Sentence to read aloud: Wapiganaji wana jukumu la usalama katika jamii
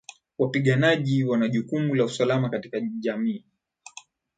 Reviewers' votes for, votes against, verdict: 7, 2, accepted